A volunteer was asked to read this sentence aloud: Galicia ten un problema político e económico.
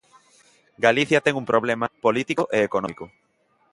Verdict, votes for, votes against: accepted, 2, 0